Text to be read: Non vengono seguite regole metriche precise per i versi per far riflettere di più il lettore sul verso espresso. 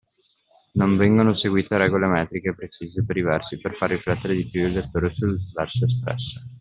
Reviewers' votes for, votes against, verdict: 2, 0, accepted